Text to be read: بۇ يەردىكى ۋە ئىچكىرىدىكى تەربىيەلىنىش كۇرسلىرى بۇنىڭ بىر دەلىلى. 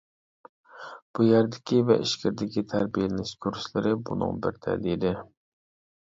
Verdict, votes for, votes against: rejected, 0, 2